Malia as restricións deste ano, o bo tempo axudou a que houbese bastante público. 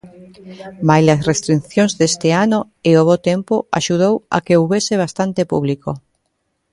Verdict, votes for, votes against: rejected, 0, 2